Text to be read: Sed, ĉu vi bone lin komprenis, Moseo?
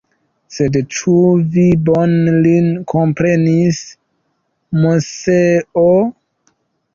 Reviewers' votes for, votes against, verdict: 2, 1, accepted